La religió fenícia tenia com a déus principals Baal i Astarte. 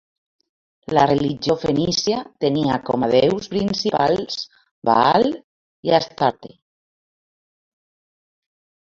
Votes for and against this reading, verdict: 0, 2, rejected